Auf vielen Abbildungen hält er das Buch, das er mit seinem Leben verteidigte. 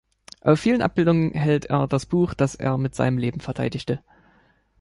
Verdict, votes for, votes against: accepted, 2, 0